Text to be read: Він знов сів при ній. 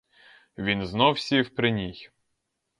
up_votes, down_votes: 2, 0